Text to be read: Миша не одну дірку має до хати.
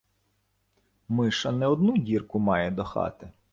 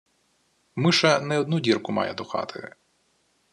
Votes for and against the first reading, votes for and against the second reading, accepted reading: 1, 2, 2, 0, second